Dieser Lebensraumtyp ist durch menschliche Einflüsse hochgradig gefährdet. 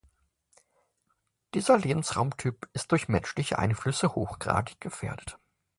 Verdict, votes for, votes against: accepted, 2, 0